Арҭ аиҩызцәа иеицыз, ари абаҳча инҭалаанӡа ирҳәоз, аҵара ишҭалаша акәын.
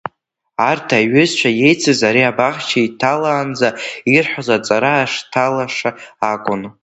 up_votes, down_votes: 1, 2